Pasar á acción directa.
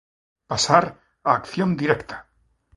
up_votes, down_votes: 2, 0